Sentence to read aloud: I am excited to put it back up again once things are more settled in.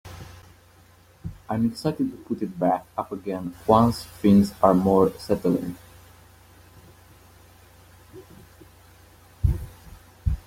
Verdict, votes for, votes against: rejected, 0, 2